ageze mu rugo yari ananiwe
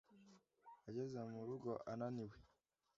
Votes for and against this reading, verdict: 0, 2, rejected